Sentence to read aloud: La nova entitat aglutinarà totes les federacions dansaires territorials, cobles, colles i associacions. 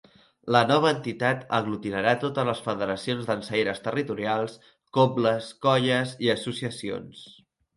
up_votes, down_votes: 3, 0